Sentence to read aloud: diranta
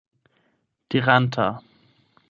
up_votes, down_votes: 4, 8